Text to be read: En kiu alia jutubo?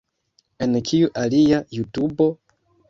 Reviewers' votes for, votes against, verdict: 2, 0, accepted